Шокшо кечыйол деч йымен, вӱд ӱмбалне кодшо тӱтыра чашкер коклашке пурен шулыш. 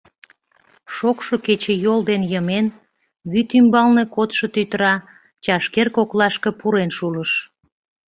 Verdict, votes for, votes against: rejected, 0, 2